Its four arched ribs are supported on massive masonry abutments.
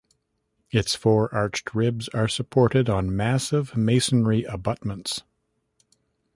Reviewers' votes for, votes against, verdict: 2, 0, accepted